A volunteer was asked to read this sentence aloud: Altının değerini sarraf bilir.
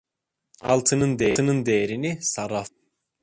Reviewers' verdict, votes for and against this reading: rejected, 0, 2